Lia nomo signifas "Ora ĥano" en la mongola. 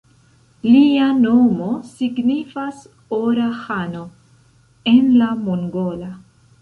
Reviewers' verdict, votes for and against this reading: accepted, 2, 1